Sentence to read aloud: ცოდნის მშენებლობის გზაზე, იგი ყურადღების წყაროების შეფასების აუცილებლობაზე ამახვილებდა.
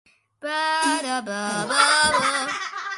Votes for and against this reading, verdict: 0, 2, rejected